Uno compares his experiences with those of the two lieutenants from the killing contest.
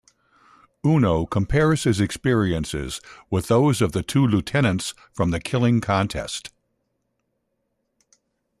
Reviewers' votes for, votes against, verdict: 2, 0, accepted